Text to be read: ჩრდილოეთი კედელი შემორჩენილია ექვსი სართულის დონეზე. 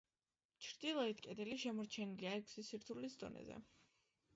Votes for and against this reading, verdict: 0, 2, rejected